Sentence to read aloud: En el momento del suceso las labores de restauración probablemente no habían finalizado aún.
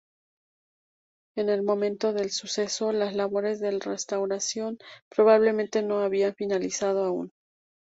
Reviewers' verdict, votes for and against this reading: rejected, 0, 2